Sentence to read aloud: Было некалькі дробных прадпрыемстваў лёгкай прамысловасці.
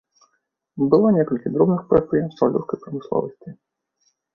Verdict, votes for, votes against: rejected, 1, 2